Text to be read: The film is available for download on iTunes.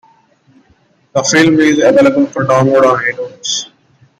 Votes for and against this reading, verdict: 2, 1, accepted